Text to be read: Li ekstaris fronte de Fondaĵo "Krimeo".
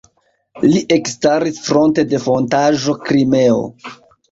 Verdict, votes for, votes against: rejected, 1, 2